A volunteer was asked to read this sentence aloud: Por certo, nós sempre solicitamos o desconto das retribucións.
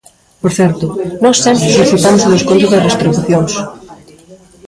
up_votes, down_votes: 0, 2